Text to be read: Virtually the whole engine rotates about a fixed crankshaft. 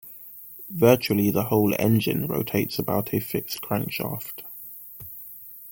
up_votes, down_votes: 2, 0